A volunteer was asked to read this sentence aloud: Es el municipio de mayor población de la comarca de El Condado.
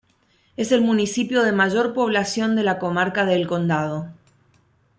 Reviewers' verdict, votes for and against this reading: accepted, 2, 0